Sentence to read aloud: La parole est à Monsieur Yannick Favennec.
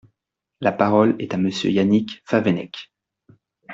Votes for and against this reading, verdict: 2, 0, accepted